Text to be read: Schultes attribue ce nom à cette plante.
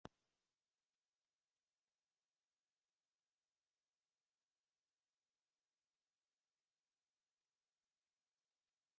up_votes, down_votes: 0, 2